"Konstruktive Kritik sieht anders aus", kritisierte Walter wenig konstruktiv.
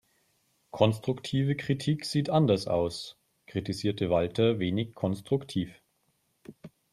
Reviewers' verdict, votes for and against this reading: accepted, 4, 0